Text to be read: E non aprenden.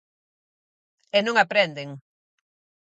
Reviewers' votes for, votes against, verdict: 4, 0, accepted